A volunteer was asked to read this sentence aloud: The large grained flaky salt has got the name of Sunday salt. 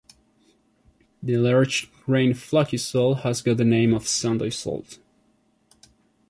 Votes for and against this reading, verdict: 2, 1, accepted